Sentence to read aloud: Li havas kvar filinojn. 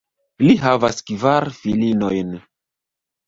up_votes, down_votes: 1, 2